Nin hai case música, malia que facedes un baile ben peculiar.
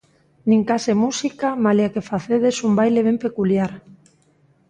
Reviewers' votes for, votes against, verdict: 0, 2, rejected